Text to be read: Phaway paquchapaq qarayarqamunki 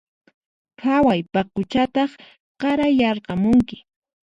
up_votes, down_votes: 2, 4